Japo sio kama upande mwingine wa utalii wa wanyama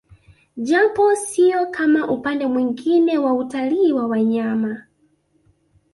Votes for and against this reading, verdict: 2, 0, accepted